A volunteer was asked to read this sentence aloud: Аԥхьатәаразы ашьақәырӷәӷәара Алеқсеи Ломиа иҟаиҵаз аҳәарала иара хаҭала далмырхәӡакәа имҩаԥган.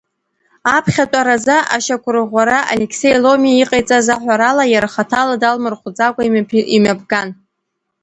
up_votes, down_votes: 1, 2